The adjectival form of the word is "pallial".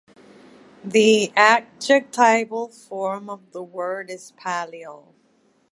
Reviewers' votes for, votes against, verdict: 1, 2, rejected